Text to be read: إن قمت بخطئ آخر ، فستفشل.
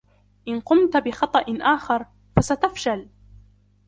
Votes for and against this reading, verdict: 2, 0, accepted